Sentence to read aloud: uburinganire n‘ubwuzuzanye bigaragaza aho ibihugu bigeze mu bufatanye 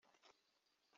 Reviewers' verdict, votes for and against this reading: rejected, 0, 2